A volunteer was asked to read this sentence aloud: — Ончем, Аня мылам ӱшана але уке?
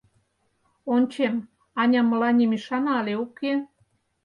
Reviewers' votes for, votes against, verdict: 0, 4, rejected